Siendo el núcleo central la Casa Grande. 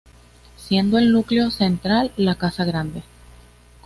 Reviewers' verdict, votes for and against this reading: accepted, 2, 0